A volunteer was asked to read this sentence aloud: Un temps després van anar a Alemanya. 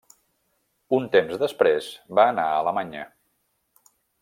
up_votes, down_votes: 0, 2